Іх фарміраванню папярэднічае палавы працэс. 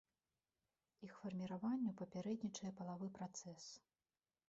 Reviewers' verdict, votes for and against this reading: rejected, 1, 2